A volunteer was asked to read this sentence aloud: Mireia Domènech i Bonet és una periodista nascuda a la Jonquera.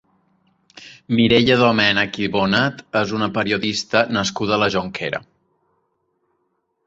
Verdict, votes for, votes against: accepted, 3, 0